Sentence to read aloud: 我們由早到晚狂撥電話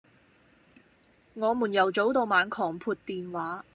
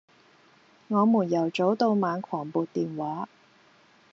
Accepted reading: second